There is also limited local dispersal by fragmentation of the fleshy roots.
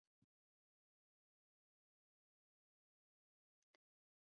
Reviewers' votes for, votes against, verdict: 0, 2, rejected